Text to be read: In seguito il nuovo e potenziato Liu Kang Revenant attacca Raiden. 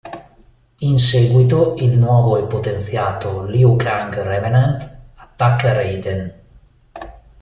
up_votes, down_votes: 2, 0